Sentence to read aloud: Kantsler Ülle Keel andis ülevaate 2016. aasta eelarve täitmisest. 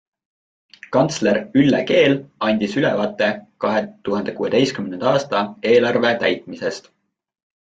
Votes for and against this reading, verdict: 0, 2, rejected